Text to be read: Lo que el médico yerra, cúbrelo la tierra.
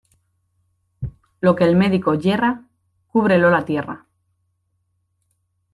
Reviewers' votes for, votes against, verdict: 2, 0, accepted